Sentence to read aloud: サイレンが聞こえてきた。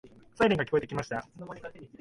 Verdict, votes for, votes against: rejected, 0, 2